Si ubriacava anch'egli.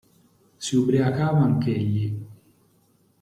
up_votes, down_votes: 2, 0